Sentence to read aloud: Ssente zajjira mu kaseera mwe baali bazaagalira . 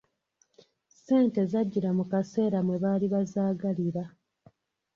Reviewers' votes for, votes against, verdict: 1, 2, rejected